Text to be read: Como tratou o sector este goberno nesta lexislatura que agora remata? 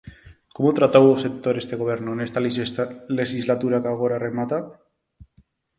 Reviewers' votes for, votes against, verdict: 0, 4, rejected